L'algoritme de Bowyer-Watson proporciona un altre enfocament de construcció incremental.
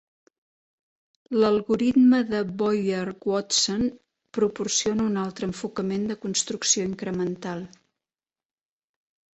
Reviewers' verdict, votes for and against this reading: rejected, 1, 2